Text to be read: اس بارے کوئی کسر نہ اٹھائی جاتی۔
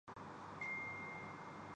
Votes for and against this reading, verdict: 0, 2, rejected